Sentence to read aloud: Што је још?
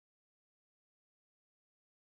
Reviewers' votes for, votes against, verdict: 0, 2, rejected